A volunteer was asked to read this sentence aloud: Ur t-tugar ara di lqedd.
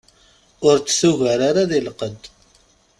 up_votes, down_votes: 1, 2